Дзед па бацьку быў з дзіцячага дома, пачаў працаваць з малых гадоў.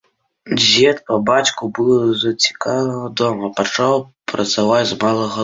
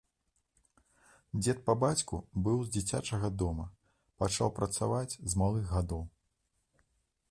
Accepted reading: second